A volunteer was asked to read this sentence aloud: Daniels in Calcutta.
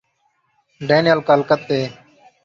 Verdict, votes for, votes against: rejected, 0, 2